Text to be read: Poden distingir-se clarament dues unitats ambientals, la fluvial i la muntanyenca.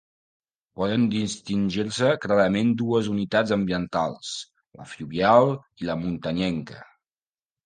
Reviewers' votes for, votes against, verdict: 2, 0, accepted